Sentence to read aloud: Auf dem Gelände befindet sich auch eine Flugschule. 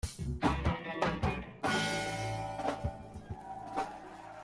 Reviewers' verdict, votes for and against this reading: rejected, 0, 2